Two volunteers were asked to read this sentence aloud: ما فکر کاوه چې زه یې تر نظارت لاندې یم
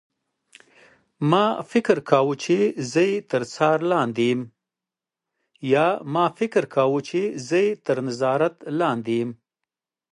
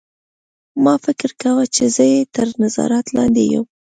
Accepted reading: second